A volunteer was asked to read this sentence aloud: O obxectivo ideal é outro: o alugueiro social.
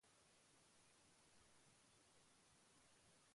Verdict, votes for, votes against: rejected, 0, 3